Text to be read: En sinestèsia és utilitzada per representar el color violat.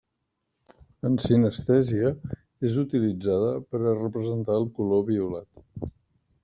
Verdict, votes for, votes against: rejected, 1, 2